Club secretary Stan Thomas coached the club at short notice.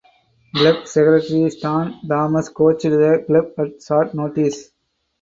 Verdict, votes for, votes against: rejected, 2, 4